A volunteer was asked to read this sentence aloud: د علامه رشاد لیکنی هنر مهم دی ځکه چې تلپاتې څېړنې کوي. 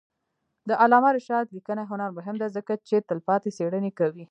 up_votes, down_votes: 2, 0